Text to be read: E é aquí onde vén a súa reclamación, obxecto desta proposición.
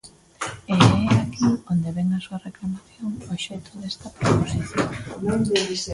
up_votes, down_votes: 0, 2